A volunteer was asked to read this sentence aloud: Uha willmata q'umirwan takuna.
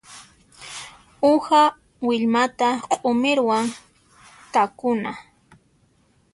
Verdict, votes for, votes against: accepted, 2, 0